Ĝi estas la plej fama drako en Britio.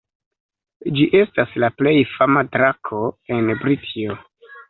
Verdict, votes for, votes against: accepted, 2, 0